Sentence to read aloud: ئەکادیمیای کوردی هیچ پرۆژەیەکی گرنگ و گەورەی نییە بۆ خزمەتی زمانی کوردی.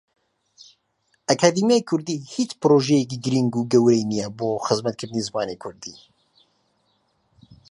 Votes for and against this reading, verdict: 0, 2, rejected